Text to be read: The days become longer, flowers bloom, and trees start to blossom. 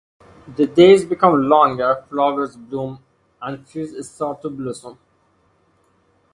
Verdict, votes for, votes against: accepted, 2, 0